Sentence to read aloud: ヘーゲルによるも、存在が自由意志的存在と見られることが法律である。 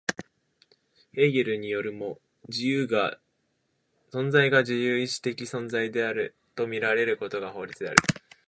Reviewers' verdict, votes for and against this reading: rejected, 1, 2